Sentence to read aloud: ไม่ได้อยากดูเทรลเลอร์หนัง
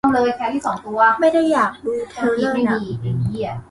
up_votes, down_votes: 0, 2